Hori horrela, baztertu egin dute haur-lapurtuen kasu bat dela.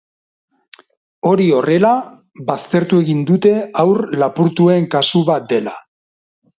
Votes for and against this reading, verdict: 4, 0, accepted